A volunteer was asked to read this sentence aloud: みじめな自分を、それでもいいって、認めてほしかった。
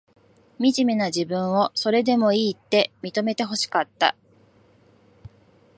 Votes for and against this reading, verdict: 2, 0, accepted